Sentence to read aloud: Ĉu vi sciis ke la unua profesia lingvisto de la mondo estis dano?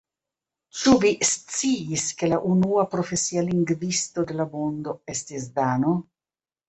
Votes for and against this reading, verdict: 2, 1, accepted